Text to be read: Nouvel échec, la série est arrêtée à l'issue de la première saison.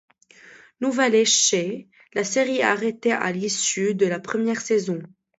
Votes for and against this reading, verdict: 1, 2, rejected